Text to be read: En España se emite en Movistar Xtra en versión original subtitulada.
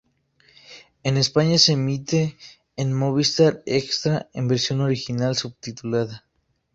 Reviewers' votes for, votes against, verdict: 0, 2, rejected